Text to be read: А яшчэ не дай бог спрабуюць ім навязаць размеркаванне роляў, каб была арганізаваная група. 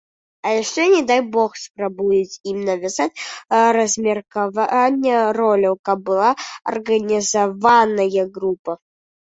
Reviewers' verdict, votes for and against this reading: rejected, 0, 2